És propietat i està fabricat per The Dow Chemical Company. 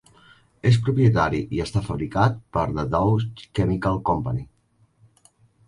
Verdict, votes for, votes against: rejected, 0, 3